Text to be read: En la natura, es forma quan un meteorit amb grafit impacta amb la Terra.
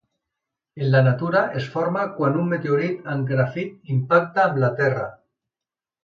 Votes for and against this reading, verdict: 2, 0, accepted